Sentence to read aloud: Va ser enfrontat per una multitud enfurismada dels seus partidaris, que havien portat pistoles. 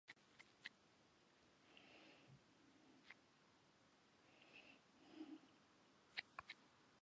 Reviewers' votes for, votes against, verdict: 0, 2, rejected